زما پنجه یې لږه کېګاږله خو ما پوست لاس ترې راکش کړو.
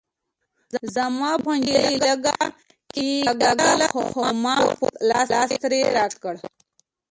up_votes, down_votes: 1, 3